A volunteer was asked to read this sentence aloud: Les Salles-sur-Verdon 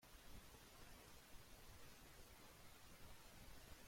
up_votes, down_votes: 0, 2